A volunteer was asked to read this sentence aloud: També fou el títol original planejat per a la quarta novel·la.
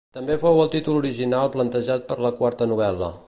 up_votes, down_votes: 0, 2